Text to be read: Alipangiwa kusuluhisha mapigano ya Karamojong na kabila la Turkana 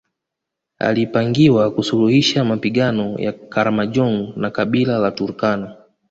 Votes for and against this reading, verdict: 2, 0, accepted